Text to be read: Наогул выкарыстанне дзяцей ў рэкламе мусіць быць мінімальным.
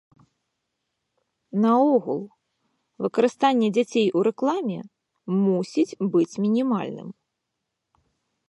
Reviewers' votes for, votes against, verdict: 3, 0, accepted